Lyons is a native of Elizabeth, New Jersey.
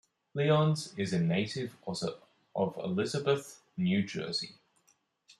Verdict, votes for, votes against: rejected, 1, 2